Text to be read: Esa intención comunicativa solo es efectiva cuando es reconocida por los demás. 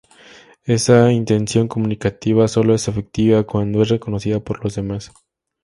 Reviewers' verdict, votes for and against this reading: accepted, 2, 0